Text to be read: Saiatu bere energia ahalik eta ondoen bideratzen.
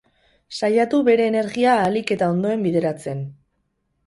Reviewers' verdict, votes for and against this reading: accepted, 6, 0